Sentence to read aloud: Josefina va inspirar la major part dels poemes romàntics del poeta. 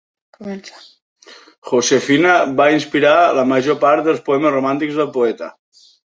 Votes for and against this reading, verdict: 1, 2, rejected